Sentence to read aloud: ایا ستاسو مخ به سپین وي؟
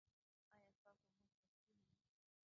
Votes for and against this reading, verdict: 0, 2, rejected